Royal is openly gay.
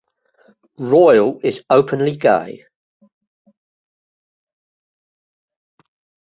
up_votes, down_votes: 2, 1